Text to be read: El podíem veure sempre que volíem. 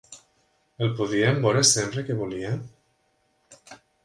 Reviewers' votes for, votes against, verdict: 0, 3, rejected